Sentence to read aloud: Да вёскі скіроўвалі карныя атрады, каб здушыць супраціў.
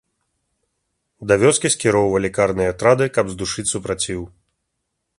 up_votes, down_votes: 3, 0